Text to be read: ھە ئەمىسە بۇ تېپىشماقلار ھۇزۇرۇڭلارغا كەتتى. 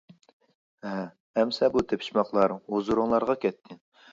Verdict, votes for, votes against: accepted, 2, 0